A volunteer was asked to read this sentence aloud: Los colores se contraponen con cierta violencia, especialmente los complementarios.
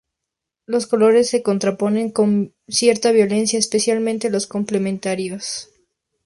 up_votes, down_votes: 2, 0